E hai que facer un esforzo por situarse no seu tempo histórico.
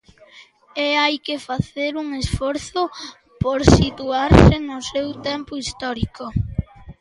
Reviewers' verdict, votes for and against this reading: accepted, 2, 0